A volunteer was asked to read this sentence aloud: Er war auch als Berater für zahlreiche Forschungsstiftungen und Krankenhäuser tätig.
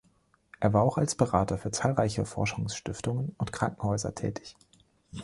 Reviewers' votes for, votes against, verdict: 2, 0, accepted